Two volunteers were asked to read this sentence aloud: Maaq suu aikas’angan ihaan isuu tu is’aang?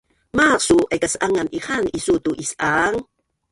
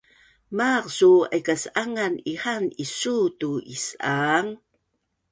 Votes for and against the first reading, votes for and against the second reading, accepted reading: 1, 4, 2, 0, second